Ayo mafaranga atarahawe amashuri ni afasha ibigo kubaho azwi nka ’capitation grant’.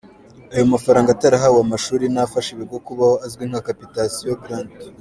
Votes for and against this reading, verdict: 2, 0, accepted